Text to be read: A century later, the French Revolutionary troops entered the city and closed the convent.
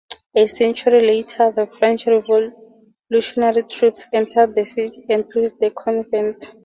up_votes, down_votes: 0, 2